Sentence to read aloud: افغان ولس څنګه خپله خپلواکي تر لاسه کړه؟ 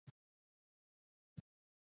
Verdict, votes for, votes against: rejected, 1, 2